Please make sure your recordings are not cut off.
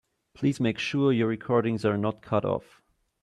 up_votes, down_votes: 2, 0